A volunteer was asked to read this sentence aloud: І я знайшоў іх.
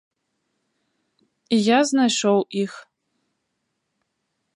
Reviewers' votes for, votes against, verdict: 2, 0, accepted